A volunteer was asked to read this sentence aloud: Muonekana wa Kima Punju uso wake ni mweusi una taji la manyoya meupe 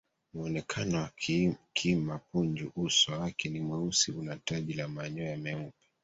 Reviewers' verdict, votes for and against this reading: rejected, 1, 2